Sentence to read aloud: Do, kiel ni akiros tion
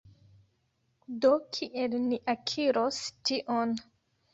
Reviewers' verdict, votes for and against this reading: accepted, 2, 0